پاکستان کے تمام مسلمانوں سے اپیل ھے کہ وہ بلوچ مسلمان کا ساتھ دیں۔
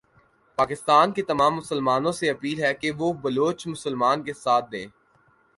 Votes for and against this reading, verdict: 2, 0, accepted